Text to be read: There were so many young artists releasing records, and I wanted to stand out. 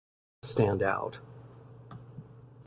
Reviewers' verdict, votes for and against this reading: rejected, 0, 2